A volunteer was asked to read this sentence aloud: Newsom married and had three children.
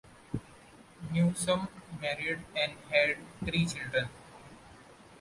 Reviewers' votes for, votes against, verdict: 1, 2, rejected